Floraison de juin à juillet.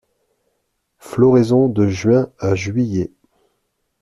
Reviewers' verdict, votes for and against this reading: accepted, 2, 0